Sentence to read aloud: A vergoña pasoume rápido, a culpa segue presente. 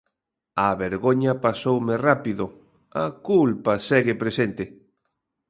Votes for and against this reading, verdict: 2, 0, accepted